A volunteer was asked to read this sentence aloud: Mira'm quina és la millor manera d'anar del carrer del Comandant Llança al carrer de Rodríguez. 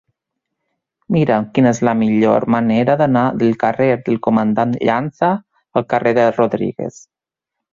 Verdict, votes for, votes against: accepted, 4, 0